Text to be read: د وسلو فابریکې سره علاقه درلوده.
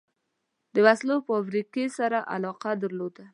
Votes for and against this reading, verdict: 2, 0, accepted